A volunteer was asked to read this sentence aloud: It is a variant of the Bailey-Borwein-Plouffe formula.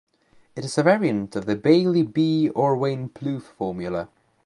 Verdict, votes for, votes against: rejected, 0, 3